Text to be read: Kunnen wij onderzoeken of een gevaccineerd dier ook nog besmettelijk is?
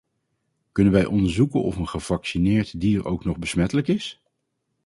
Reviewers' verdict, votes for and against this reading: rejected, 2, 2